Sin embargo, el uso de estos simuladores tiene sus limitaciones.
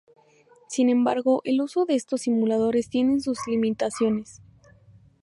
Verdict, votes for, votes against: rejected, 0, 2